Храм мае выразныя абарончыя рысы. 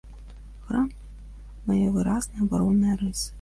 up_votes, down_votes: 1, 2